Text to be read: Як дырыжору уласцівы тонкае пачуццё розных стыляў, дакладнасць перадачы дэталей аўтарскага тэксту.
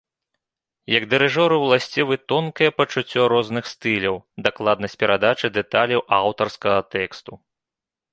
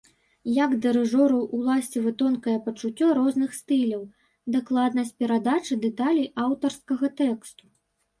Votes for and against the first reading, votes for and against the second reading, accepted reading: 2, 0, 0, 2, first